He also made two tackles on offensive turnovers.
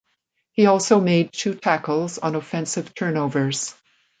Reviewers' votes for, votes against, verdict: 2, 0, accepted